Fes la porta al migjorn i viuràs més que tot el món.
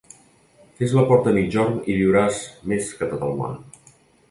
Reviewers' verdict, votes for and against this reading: accepted, 2, 0